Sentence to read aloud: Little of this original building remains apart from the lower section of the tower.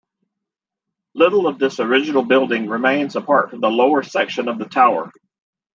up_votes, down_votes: 2, 1